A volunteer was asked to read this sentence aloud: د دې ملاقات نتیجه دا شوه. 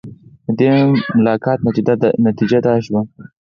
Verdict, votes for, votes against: rejected, 0, 4